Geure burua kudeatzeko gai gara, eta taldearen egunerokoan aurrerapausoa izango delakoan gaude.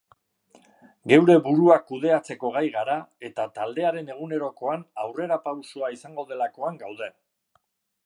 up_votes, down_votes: 3, 0